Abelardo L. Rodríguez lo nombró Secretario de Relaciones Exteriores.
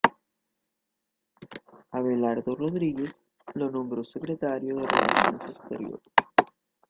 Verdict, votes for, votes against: accepted, 2, 0